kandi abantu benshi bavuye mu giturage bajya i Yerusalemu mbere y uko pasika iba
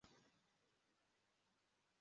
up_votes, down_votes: 0, 2